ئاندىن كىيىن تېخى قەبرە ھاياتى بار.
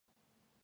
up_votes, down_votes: 0, 2